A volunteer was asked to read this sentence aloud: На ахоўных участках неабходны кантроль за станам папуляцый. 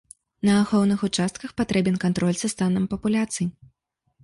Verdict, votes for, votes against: rejected, 1, 2